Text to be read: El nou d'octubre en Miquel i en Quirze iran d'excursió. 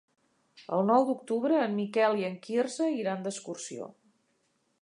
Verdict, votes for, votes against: accepted, 3, 0